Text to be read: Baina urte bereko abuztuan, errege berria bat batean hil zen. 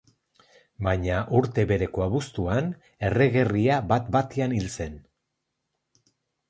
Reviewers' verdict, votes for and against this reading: rejected, 0, 2